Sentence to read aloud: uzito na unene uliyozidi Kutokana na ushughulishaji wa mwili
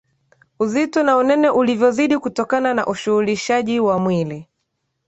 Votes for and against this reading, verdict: 0, 2, rejected